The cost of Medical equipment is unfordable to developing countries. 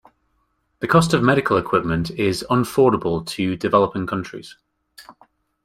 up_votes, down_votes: 2, 0